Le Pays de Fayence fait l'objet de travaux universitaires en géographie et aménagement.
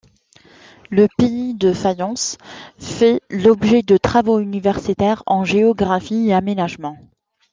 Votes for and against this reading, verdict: 2, 0, accepted